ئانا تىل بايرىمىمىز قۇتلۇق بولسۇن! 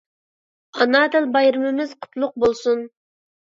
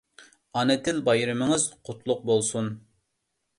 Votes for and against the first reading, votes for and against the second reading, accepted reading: 2, 0, 1, 2, first